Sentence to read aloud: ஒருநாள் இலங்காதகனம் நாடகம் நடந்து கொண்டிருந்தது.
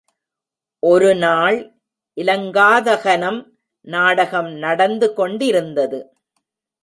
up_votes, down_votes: 0, 2